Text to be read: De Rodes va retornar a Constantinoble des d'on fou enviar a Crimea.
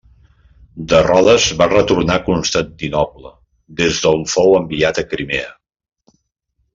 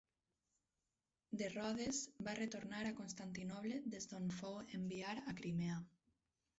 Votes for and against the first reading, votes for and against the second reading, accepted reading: 0, 2, 4, 0, second